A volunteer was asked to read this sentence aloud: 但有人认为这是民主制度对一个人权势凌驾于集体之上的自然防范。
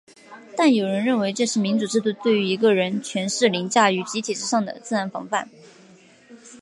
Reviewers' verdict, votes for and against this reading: accepted, 2, 0